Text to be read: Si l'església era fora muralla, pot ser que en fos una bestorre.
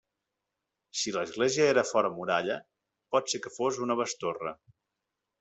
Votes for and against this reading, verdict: 0, 2, rejected